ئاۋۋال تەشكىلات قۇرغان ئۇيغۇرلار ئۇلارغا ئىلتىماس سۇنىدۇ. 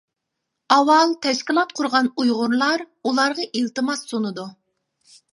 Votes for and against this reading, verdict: 3, 0, accepted